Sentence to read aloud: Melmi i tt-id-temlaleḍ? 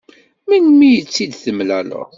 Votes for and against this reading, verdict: 2, 0, accepted